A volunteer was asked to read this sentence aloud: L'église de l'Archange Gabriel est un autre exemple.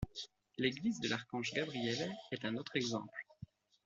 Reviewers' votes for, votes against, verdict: 2, 0, accepted